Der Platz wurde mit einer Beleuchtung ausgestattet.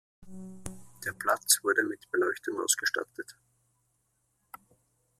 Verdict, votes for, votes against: rejected, 0, 2